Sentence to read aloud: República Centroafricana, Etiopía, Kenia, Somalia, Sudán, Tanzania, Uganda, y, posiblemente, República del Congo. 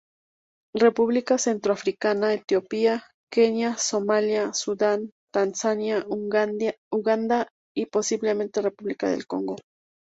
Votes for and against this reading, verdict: 0, 2, rejected